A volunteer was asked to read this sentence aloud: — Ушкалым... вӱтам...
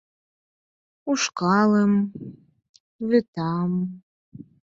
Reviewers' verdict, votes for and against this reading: accepted, 4, 0